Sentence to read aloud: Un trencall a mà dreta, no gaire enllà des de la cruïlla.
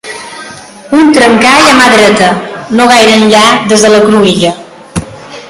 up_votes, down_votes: 3, 2